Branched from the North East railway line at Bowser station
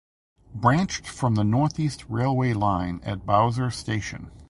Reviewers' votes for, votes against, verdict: 2, 0, accepted